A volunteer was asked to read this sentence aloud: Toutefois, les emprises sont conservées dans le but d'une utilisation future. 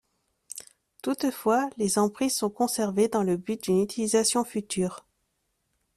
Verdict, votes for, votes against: accepted, 2, 0